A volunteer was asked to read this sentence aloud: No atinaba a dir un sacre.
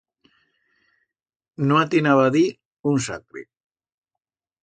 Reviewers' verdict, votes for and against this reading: accepted, 2, 0